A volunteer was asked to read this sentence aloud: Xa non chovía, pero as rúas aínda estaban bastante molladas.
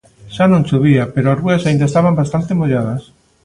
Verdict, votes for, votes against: rejected, 1, 2